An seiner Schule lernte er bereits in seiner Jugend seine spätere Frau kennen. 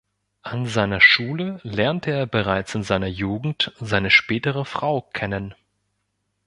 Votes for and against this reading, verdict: 2, 0, accepted